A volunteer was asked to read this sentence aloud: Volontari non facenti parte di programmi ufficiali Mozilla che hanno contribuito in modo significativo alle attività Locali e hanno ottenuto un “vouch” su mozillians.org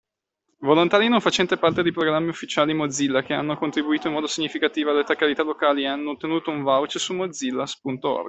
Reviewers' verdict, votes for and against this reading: rejected, 0, 2